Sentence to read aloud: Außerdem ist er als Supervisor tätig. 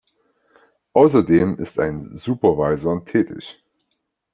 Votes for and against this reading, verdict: 0, 3, rejected